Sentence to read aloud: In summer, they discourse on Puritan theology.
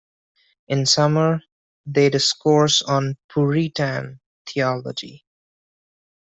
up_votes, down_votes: 1, 2